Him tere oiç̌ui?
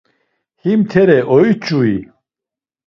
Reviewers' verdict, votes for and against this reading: accepted, 2, 0